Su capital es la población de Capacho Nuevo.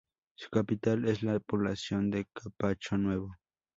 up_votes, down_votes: 4, 0